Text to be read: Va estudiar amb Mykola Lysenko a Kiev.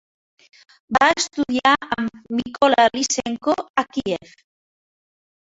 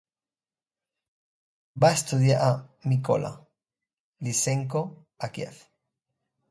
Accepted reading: second